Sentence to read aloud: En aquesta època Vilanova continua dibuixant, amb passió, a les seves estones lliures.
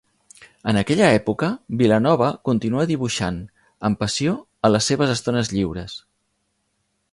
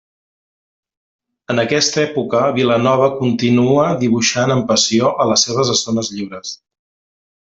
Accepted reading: second